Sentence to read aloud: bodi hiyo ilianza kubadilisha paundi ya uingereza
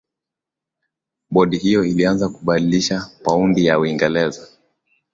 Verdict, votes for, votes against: accepted, 2, 0